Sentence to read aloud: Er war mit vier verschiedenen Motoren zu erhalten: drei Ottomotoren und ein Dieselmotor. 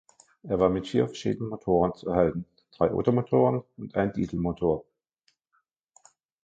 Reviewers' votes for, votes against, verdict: 1, 2, rejected